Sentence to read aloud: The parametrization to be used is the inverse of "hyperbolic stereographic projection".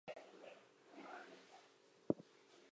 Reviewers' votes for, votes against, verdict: 0, 2, rejected